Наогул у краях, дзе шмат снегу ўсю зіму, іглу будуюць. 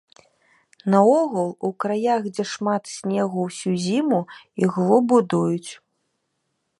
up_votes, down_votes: 2, 0